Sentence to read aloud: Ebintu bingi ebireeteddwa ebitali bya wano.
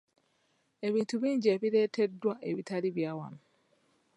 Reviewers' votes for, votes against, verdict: 2, 0, accepted